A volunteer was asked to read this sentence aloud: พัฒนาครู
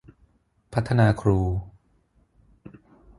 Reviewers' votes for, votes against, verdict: 6, 0, accepted